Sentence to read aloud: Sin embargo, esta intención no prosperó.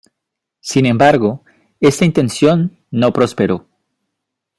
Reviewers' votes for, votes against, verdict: 1, 2, rejected